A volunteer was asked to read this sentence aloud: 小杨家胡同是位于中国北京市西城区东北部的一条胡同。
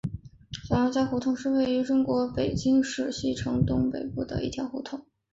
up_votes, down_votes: 2, 2